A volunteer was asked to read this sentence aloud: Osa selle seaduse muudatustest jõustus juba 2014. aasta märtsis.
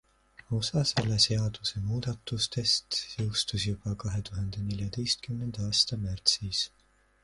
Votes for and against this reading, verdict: 0, 2, rejected